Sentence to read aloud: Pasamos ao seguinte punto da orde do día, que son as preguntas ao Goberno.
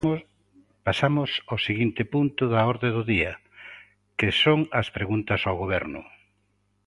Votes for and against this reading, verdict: 2, 1, accepted